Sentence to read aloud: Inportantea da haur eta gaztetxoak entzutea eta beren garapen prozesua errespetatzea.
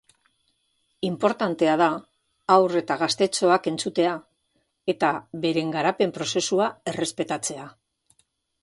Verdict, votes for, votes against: rejected, 1, 2